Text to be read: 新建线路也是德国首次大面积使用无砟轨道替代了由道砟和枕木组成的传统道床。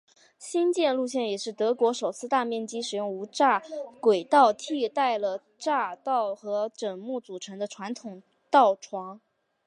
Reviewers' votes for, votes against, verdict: 6, 1, accepted